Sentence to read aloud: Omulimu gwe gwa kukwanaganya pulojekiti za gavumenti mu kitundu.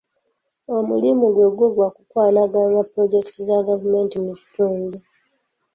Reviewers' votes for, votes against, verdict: 2, 1, accepted